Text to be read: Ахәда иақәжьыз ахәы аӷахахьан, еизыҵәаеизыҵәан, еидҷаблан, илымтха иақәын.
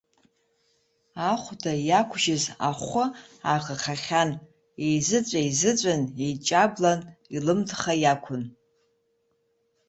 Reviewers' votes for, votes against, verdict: 2, 0, accepted